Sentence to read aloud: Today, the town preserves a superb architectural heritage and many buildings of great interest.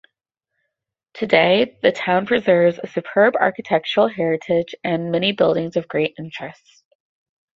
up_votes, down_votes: 8, 0